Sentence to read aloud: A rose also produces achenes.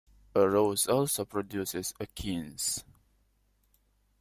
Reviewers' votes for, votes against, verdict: 2, 0, accepted